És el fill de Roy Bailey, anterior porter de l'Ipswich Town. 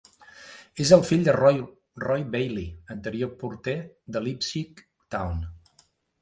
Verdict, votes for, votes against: rejected, 1, 2